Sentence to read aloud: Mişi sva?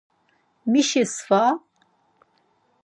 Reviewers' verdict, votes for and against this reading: rejected, 0, 4